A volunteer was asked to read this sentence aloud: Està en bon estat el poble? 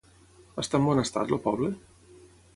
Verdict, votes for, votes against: rejected, 3, 3